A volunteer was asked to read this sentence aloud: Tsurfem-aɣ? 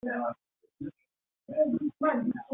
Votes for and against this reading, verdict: 0, 2, rejected